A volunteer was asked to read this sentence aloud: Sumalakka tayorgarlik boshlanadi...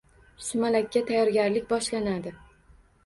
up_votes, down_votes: 2, 1